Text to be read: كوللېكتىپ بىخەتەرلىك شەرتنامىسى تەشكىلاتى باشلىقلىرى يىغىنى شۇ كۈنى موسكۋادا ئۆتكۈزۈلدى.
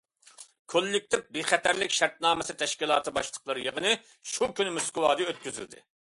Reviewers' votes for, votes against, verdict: 2, 0, accepted